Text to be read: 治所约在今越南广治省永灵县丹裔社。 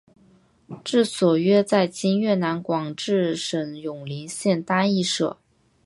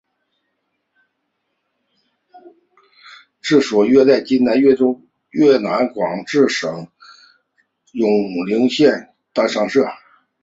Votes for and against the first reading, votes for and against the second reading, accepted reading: 3, 0, 1, 5, first